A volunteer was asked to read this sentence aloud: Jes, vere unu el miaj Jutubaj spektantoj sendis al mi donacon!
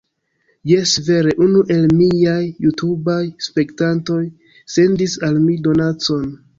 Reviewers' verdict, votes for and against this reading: rejected, 1, 2